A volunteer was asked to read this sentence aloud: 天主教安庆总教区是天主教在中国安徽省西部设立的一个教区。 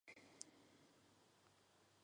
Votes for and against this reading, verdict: 1, 4, rejected